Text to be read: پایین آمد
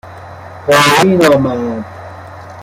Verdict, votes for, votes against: rejected, 1, 2